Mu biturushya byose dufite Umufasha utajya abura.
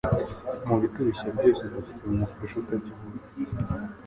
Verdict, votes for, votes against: rejected, 1, 2